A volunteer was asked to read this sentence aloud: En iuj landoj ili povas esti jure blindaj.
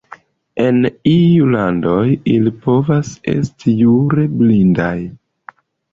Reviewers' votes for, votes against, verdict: 0, 2, rejected